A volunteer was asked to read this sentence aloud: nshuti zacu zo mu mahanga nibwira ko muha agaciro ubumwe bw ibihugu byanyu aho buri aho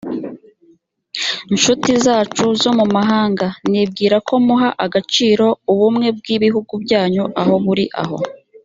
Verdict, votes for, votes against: rejected, 0, 2